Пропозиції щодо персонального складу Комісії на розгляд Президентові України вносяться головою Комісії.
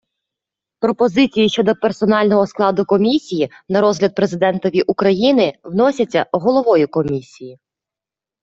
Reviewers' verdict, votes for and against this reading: accepted, 2, 0